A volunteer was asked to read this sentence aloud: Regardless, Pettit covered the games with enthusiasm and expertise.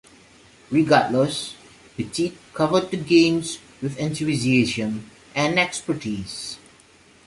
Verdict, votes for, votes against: rejected, 1, 2